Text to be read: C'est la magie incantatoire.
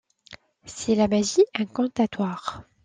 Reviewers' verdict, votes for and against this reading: accepted, 2, 0